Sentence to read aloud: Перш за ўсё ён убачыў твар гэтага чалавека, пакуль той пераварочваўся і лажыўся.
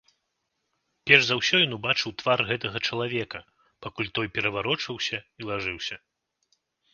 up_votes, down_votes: 2, 0